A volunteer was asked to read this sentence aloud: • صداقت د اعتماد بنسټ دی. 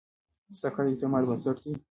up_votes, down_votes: 1, 2